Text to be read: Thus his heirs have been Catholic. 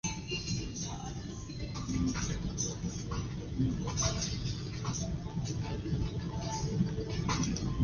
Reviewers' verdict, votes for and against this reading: rejected, 0, 2